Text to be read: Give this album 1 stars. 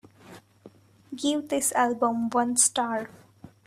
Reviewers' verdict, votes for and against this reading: rejected, 0, 2